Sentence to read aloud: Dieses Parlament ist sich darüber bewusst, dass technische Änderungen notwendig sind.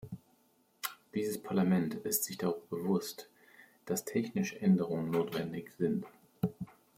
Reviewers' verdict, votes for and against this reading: accepted, 2, 0